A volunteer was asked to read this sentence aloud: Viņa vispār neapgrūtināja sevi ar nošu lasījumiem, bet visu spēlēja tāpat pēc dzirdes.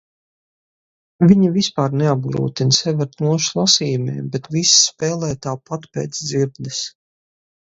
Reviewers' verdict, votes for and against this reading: rejected, 2, 2